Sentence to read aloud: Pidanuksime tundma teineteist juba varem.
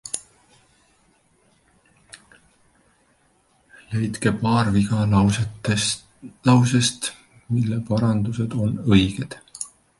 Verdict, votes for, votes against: rejected, 0, 2